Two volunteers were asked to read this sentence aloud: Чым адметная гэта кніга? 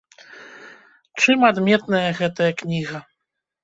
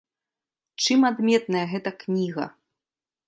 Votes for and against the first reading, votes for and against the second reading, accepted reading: 1, 2, 2, 0, second